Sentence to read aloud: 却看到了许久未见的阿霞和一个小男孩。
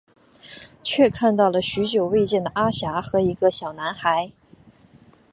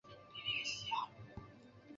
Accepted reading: first